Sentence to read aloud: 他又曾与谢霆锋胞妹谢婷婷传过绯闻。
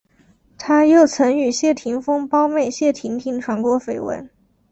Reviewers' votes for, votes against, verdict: 2, 0, accepted